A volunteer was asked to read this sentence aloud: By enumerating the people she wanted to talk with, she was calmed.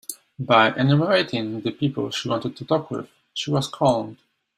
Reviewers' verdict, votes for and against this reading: accepted, 2, 1